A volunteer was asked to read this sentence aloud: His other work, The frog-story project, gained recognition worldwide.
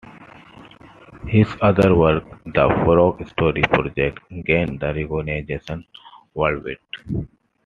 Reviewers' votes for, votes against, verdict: 2, 1, accepted